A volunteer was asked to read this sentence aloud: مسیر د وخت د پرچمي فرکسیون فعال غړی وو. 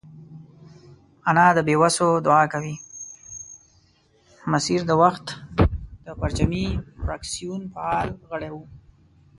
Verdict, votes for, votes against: rejected, 1, 3